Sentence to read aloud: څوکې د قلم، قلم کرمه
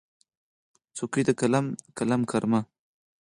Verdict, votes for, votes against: rejected, 0, 4